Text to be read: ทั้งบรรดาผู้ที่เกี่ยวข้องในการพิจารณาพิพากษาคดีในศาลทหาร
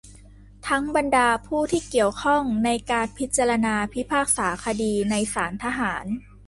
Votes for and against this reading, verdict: 2, 0, accepted